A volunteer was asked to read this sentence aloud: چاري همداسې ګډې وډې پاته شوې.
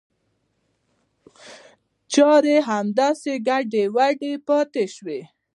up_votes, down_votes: 1, 2